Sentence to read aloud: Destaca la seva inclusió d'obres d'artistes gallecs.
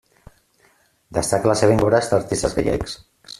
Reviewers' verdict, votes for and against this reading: rejected, 0, 2